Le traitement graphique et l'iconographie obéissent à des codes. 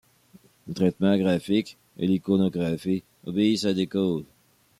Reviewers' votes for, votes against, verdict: 1, 2, rejected